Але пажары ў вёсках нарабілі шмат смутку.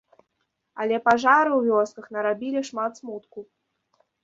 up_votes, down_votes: 2, 0